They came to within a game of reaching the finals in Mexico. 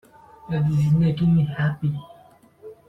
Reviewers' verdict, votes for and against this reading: rejected, 0, 2